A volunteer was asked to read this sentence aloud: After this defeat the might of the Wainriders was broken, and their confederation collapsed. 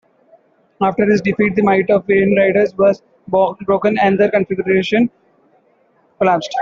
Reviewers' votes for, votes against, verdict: 1, 2, rejected